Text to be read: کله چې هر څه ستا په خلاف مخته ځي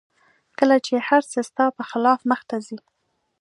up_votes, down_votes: 2, 0